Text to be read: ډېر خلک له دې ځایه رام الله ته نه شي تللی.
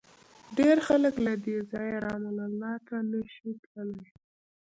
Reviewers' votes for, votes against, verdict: 1, 2, rejected